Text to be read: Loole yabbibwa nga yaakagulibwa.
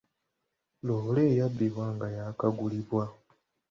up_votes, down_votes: 2, 1